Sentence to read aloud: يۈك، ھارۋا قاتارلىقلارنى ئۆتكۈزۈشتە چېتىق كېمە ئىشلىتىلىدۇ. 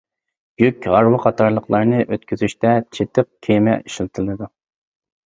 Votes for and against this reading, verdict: 2, 0, accepted